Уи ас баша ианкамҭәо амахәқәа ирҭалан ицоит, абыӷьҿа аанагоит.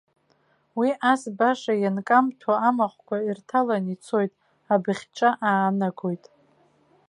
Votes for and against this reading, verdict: 2, 1, accepted